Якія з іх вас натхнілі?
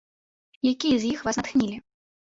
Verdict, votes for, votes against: rejected, 1, 2